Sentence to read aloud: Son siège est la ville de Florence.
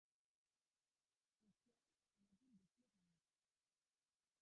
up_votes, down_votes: 0, 2